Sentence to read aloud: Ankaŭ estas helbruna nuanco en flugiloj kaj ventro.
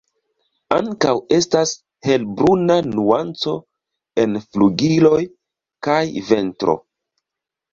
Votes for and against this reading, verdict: 2, 0, accepted